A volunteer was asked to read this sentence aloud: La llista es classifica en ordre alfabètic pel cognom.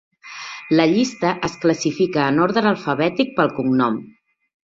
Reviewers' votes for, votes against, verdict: 1, 2, rejected